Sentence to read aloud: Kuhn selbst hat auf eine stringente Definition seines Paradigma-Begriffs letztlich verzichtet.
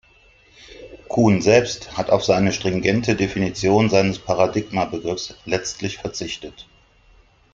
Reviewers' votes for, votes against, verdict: 1, 2, rejected